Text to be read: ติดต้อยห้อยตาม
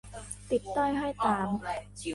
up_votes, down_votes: 0, 2